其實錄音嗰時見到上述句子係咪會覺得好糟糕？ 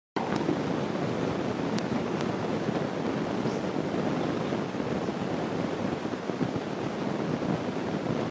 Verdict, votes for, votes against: rejected, 0, 3